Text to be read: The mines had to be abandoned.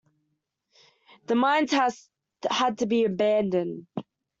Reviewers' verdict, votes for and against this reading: rejected, 0, 2